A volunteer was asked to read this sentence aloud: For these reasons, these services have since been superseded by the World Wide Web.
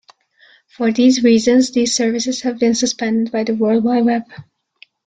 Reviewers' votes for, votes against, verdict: 2, 0, accepted